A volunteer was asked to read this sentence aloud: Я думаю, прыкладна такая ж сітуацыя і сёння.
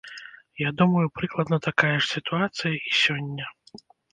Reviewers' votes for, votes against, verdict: 1, 2, rejected